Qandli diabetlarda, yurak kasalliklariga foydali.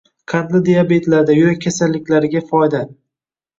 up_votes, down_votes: 1, 2